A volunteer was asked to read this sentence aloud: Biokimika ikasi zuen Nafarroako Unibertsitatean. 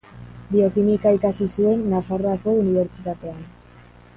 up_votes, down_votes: 4, 0